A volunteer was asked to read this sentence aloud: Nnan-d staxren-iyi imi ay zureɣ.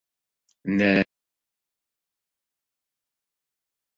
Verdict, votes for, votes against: rejected, 0, 2